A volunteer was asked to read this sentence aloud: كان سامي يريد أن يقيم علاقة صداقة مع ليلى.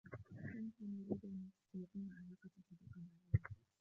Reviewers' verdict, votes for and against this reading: rejected, 0, 2